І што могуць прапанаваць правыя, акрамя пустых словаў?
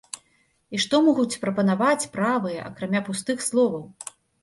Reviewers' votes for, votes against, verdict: 2, 0, accepted